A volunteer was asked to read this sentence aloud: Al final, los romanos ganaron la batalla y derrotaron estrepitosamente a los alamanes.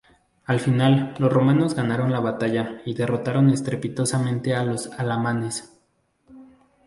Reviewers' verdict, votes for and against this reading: accepted, 2, 0